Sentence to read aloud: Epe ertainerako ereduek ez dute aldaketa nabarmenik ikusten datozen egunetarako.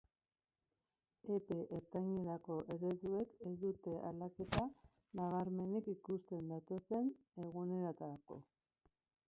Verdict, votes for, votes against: rejected, 0, 2